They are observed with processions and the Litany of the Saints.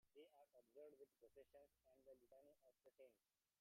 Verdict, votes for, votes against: rejected, 1, 2